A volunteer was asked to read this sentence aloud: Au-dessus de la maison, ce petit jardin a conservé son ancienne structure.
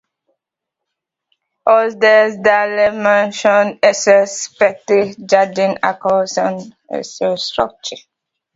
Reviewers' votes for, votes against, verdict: 0, 2, rejected